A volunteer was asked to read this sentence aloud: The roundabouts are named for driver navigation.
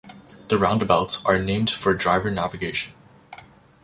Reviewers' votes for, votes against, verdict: 2, 1, accepted